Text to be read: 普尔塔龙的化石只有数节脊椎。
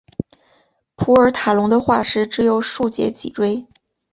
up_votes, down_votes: 2, 0